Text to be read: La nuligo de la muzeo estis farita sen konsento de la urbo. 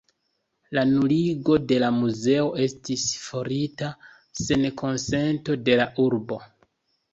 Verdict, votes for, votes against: accepted, 2, 0